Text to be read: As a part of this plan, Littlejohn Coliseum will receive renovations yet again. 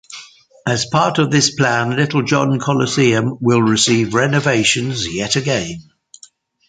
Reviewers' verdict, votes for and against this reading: accepted, 2, 0